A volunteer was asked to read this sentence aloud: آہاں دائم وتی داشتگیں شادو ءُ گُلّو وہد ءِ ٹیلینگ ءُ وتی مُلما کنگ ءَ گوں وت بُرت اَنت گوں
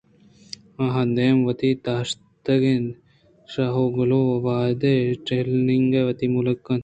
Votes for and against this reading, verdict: 2, 1, accepted